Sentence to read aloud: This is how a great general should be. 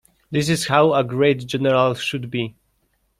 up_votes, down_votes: 2, 0